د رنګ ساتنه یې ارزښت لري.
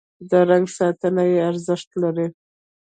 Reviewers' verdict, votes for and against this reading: rejected, 1, 2